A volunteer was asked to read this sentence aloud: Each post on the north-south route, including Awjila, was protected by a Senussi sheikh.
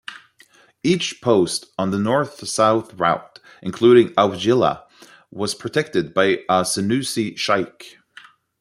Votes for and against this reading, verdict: 1, 2, rejected